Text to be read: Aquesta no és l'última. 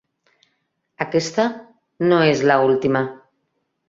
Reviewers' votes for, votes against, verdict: 2, 3, rejected